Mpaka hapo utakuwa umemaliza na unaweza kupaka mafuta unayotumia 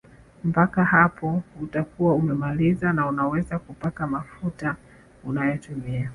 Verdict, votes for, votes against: accepted, 2, 0